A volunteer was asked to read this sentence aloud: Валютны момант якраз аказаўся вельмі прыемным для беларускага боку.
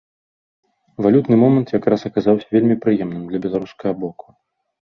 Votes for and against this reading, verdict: 2, 0, accepted